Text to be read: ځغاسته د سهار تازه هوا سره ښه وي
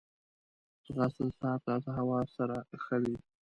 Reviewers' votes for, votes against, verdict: 2, 0, accepted